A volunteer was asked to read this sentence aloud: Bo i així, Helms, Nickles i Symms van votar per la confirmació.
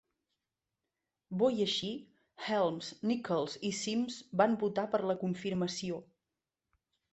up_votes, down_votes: 2, 1